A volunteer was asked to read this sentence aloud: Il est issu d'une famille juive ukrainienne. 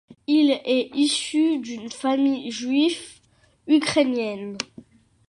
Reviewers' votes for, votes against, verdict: 1, 2, rejected